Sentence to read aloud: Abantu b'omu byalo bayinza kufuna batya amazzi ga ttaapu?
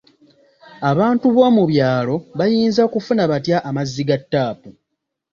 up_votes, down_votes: 2, 0